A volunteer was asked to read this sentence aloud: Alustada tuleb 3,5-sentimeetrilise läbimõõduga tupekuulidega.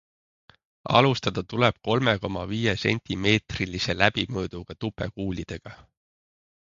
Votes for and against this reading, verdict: 0, 2, rejected